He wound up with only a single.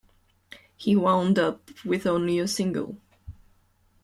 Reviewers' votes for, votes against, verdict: 2, 0, accepted